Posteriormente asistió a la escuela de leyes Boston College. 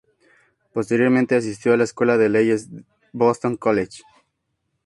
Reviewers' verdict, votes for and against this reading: accepted, 2, 0